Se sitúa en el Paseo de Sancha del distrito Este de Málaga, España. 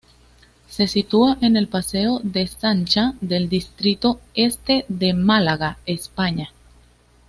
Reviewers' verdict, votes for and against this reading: accepted, 2, 0